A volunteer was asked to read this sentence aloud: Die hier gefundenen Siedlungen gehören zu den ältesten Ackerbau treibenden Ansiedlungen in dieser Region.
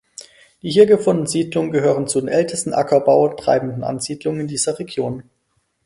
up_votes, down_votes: 2, 4